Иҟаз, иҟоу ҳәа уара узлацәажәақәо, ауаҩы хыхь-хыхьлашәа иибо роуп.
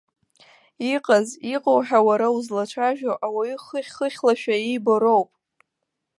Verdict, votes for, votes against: rejected, 1, 2